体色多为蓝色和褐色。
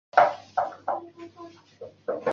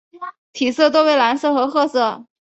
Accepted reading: second